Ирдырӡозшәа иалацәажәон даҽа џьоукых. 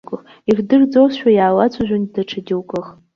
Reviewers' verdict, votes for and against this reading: accepted, 2, 1